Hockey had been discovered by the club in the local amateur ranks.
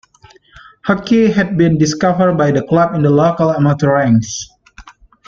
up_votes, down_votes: 2, 0